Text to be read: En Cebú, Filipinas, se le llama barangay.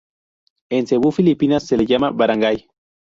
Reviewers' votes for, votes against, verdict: 2, 0, accepted